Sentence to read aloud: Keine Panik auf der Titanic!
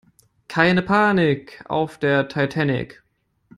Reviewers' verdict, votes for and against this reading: accepted, 2, 1